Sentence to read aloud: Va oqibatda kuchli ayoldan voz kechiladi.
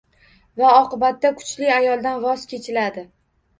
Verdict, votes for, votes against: rejected, 1, 2